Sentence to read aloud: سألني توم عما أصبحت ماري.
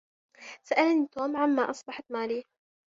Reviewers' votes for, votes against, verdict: 2, 0, accepted